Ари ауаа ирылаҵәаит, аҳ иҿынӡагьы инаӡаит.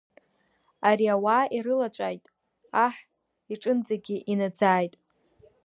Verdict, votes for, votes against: accepted, 2, 1